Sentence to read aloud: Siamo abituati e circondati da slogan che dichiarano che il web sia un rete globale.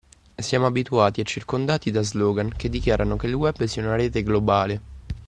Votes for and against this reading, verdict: 2, 0, accepted